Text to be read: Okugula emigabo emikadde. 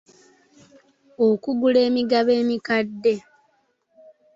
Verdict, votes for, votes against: accepted, 2, 0